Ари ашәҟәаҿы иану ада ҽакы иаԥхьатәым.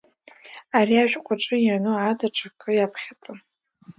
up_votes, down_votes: 2, 0